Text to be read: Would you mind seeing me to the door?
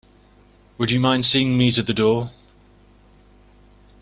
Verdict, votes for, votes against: accepted, 2, 0